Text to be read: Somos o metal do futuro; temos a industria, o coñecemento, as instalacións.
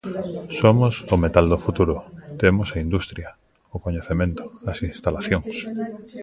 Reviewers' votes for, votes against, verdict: 1, 2, rejected